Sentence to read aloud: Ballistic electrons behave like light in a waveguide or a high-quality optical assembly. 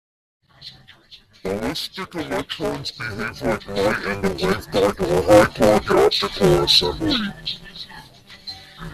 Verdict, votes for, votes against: rejected, 0, 2